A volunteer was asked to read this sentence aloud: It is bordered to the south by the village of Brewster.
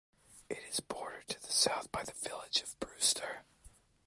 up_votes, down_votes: 2, 1